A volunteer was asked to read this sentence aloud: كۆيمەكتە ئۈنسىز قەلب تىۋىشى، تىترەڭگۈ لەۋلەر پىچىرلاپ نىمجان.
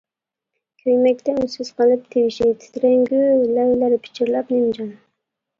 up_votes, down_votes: 1, 2